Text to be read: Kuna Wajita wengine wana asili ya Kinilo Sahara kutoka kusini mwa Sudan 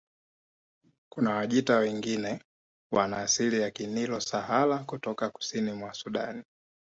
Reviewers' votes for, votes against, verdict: 2, 0, accepted